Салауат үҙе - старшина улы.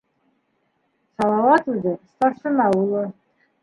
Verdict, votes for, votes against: accepted, 2, 1